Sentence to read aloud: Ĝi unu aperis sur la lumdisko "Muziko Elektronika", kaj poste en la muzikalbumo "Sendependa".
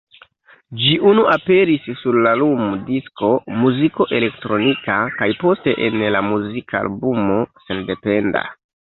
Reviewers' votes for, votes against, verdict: 0, 2, rejected